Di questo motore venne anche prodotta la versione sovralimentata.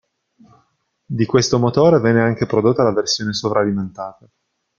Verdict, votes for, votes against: rejected, 1, 2